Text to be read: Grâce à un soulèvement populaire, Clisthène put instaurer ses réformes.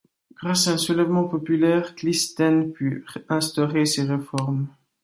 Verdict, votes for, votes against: rejected, 1, 2